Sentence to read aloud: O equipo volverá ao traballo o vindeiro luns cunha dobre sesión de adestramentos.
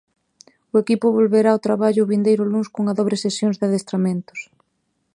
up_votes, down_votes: 0, 2